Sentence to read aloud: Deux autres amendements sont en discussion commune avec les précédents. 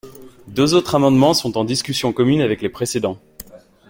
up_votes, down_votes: 2, 0